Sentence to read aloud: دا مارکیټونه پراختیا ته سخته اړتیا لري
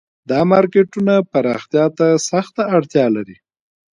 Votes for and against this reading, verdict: 2, 1, accepted